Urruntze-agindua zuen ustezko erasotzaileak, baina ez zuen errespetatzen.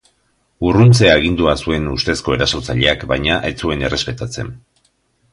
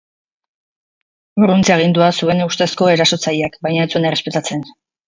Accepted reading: first